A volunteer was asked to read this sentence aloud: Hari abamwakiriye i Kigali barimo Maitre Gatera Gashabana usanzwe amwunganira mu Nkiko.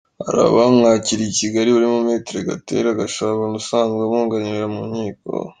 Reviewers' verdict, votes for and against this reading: accepted, 2, 0